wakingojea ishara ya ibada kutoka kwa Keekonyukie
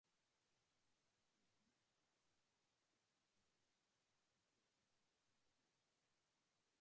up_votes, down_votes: 0, 2